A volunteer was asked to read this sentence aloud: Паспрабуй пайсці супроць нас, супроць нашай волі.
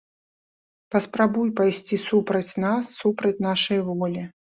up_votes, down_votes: 1, 3